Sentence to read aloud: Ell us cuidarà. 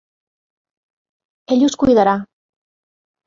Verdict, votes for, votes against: accepted, 3, 0